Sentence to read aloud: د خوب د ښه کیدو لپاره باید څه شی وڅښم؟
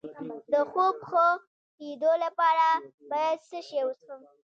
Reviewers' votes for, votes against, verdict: 1, 2, rejected